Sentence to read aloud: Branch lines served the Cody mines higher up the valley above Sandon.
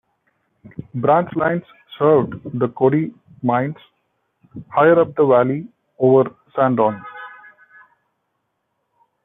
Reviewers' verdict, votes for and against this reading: rejected, 0, 2